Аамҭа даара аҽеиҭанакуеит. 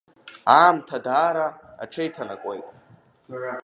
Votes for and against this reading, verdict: 2, 0, accepted